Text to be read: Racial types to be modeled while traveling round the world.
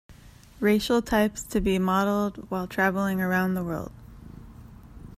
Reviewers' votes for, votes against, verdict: 0, 2, rejected